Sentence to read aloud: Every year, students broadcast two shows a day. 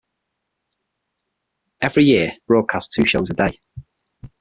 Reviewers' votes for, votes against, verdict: 0, 6, rejected